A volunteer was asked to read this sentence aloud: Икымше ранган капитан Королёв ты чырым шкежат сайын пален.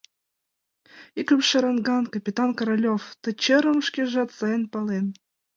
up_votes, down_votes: 2, 1